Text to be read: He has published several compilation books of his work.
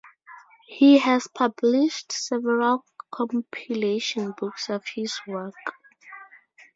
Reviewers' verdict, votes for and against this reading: rejected, 0, 2